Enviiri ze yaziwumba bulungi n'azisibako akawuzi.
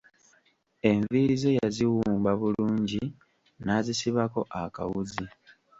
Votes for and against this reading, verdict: 1, 2, rejected